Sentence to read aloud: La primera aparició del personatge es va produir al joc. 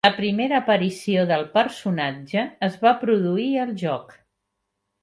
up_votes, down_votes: 1, 2